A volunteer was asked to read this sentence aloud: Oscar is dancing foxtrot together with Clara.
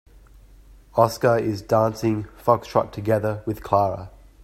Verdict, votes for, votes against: accepted, 2, 0